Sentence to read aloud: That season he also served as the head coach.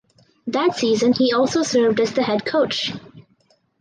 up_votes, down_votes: 4, 0